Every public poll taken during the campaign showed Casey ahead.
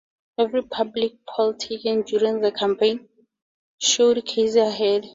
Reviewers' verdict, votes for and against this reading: accepted, 2, 0